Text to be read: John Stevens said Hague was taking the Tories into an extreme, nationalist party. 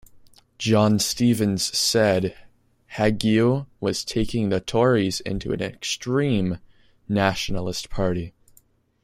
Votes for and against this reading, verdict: 1, 2, rejected